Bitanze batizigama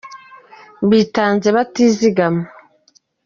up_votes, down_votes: 3, 0